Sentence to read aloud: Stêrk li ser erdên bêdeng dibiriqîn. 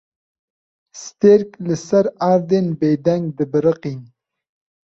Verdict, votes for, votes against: accepted, 2, 0